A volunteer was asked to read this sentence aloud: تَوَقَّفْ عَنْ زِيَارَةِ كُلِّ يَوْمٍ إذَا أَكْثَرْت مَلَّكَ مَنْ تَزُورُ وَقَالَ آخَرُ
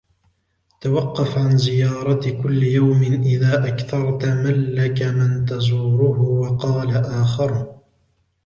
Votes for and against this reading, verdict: 0, 2, rejected